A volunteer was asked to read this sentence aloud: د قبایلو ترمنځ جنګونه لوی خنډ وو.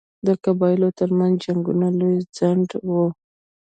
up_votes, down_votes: 1, 2